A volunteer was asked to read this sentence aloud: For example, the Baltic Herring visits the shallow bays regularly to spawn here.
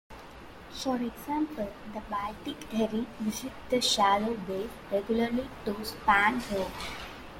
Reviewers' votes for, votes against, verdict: 1, 2, rejected